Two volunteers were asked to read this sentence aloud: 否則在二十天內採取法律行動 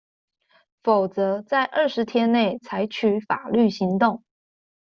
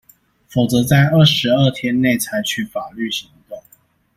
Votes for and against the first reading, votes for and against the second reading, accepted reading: 2, 0, 0, 2, first